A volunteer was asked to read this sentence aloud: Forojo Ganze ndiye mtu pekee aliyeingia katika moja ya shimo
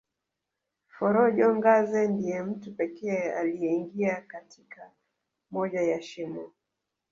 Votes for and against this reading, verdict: 1, 2, rejected